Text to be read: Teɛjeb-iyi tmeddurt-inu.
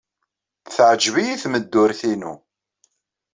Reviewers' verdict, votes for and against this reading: accepted, 2, 0